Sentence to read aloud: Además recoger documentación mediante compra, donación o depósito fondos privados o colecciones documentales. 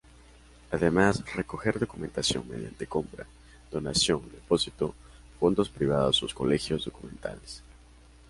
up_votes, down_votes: 0, 2